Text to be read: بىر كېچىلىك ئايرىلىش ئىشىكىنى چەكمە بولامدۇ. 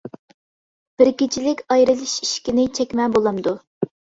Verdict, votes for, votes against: accepted, 2, 0